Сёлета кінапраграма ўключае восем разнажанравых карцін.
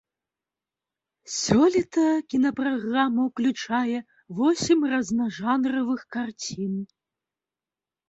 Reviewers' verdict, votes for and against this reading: accepted, 2, 0